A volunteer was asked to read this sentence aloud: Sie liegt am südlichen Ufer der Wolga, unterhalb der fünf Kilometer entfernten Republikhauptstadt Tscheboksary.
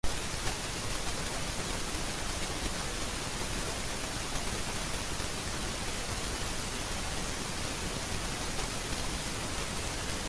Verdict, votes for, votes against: rejected, 0, 2